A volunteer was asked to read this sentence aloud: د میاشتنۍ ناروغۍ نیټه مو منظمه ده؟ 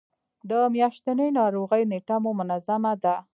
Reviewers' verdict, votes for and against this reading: accepted, 2, 1